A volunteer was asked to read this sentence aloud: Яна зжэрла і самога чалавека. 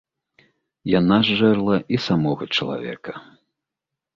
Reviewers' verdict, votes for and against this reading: accepted, 2, 0